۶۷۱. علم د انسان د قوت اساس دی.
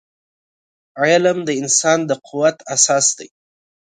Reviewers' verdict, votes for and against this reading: rejected, 0, 2